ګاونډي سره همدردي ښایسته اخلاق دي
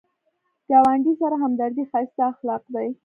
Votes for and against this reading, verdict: 2, 0, accepted